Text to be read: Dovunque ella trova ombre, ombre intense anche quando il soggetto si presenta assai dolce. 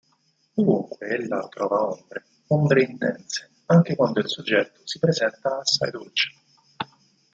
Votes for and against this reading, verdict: 4, 2, accepted